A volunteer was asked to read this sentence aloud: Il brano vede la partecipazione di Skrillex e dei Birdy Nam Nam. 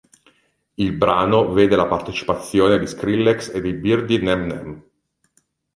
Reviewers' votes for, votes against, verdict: 1, 2, rejected